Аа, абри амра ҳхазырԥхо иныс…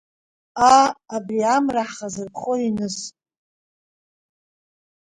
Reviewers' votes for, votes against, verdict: 2, 0, accepted